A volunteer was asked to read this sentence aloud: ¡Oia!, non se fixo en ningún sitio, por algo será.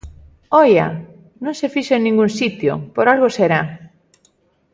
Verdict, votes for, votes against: accepted, 2, 0